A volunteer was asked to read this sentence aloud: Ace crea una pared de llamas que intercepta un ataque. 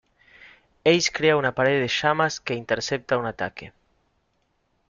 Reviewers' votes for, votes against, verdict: 2, 0, accepted